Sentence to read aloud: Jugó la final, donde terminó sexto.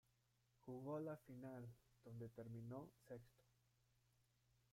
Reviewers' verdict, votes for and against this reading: rejected, 0, 2